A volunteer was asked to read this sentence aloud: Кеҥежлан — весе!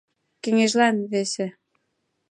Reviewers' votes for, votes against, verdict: 2, 0, accepted